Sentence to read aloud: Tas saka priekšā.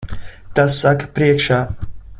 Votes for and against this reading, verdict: 2, 0, accepted